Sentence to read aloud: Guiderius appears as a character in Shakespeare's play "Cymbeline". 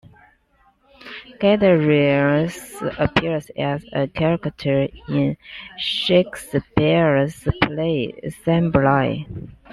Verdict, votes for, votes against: rejected, 1, 2